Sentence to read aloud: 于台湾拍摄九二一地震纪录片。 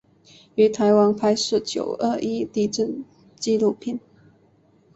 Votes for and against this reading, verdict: 2, 0, accepted